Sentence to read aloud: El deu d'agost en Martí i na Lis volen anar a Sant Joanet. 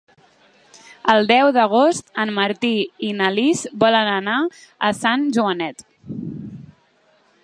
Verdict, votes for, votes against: accepted, 3, 0